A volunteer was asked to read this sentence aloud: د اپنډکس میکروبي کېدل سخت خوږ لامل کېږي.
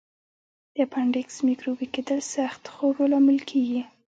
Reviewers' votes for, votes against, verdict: 1, 2, rejected